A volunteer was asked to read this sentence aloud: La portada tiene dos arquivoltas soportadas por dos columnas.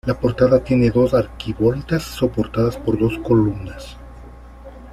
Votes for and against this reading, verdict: 2, 0, accepted